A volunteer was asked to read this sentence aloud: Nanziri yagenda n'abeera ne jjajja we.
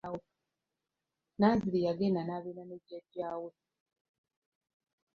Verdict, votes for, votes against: accepted, 2, 1